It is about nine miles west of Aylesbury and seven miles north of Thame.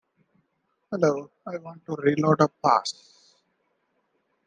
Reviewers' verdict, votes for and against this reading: rejected, 0, 2